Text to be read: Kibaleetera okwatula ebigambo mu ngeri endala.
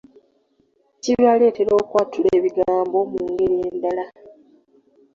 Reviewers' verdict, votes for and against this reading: accepted, 3, 2